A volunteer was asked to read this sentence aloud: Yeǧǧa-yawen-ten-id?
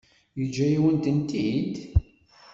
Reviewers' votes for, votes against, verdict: 1, 2, rejected